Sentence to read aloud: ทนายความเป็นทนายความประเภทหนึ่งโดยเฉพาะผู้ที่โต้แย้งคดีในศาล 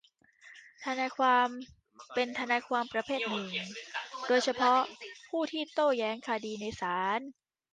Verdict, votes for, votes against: rejected, 0, 2